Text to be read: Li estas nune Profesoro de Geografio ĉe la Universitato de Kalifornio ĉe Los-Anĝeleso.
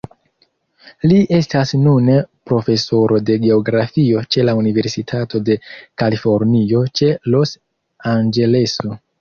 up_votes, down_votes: 2, 1